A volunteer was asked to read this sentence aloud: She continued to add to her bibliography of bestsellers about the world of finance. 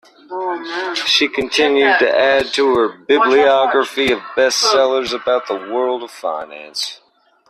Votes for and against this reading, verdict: 1, 2, rejected